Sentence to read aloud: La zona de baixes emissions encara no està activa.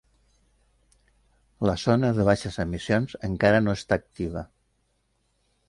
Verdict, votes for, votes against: accepted, 4, 0